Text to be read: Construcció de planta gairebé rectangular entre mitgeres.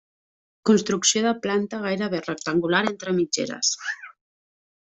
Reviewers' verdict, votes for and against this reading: accepted, 3, 0